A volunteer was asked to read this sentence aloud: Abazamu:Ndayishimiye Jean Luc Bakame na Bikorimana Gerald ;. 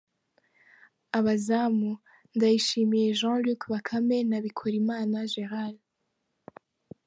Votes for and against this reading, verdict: 0, 2, rejected